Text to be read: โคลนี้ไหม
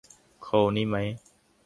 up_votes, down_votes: 2, 0